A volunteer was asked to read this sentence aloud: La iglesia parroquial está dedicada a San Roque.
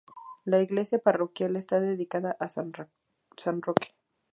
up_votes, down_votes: 0, 2